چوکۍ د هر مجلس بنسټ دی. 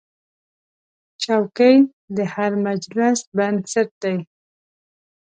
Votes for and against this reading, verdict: 2, 0, accepted